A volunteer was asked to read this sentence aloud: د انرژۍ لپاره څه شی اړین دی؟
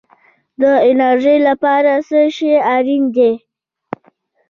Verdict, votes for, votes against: rejected, 0, 2